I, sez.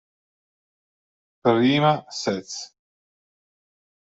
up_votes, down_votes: 1, 2